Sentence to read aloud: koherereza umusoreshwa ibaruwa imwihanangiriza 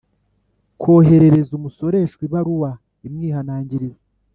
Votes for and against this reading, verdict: 4, 0, accepted